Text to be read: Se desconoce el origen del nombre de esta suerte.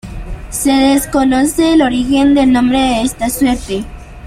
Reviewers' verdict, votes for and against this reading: rejected, 0, 2